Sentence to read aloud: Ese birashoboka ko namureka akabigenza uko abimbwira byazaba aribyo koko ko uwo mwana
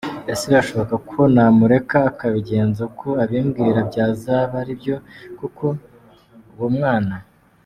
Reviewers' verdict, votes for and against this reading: rejected, 1, 2